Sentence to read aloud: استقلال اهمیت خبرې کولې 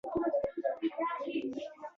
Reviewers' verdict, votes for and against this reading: accepted, 2, 0